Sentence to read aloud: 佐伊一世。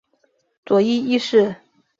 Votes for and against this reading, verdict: 2, 0, accepted